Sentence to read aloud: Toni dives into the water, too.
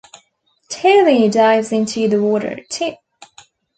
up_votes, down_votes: 1, 2